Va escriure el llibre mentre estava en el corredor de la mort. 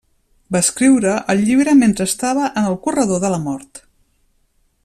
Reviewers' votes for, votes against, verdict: 3, 0, accepted